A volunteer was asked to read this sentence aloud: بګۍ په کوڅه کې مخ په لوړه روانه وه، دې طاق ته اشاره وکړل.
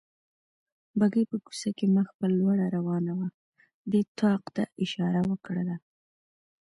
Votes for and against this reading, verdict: 0, 2, rejected